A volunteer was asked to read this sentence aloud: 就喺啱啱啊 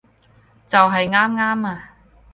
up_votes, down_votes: 2, 4